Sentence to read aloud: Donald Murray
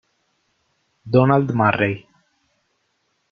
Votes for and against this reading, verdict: 2, 0, accepted